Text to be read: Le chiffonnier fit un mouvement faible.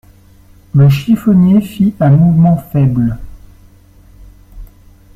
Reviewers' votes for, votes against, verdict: 0, 2, rejected